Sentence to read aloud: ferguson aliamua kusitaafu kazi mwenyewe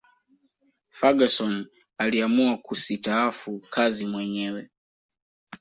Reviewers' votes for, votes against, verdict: 2, 0, accepted